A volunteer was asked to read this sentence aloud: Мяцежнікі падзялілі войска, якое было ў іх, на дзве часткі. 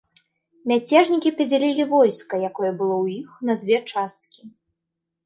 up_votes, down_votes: 2, 0